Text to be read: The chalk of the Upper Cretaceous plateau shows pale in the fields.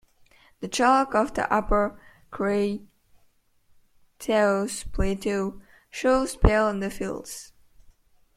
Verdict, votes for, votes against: rejected, 0, 2